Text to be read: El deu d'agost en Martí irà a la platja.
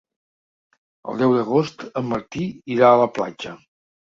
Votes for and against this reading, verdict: 3, 0, accepted